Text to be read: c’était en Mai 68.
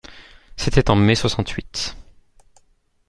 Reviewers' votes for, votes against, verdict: 0, 2, rejected